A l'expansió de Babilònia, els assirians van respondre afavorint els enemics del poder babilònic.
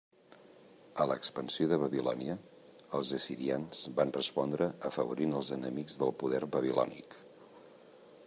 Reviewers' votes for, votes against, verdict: 2, 0, accepted